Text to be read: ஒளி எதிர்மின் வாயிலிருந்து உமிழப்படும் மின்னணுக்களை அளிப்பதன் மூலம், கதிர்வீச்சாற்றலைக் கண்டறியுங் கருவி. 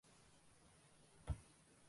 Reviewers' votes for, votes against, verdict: 1, 2, rejected